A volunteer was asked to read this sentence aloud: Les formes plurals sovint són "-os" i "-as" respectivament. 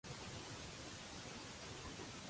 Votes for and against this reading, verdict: 0, 2, rejected